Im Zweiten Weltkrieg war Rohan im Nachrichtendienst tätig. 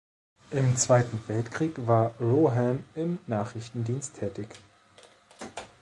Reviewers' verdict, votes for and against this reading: accepted, 3, 0